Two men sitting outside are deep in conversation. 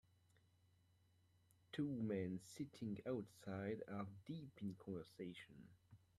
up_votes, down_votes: 2, 0